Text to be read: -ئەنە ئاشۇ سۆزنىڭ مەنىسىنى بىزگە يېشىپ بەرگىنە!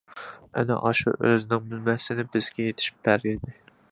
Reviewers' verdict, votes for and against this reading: rejected, 0, 2